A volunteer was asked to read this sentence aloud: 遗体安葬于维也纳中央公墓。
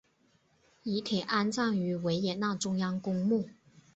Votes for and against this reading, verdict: 1, 2, rejected